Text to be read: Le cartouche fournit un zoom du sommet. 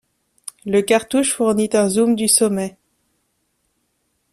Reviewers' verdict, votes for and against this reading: accepted, 3, 0